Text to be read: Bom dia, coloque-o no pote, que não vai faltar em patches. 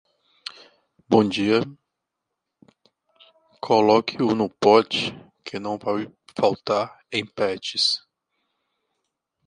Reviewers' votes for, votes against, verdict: 0, 2, rejected